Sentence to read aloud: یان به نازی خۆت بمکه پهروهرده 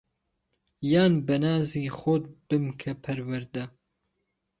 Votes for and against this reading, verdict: 3, 0, accepted